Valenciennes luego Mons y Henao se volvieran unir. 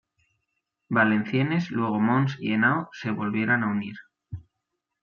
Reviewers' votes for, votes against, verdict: 2, 1, accepted